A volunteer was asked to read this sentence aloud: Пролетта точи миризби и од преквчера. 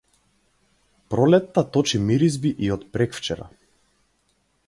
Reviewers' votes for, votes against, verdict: 4, 0, accepted